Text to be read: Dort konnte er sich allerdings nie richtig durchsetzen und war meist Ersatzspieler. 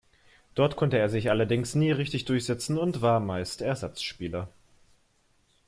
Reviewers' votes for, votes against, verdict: 2, 0, accepted